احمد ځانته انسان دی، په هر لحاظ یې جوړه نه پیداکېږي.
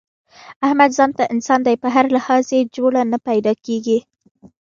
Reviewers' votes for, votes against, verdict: 1, 2, rejected